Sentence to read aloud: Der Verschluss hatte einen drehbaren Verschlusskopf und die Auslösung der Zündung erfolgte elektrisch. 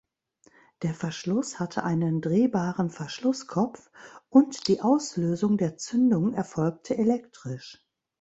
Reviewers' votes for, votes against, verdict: 2, 0, accepted